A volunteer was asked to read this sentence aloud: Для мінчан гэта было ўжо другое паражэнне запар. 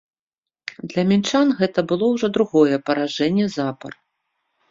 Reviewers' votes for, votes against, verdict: 2, 0, accepted